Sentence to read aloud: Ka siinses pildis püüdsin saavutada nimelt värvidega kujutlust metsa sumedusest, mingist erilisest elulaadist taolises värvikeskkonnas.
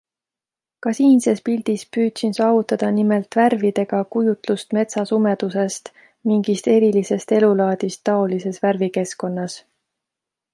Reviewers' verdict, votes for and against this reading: accepted, 2, 0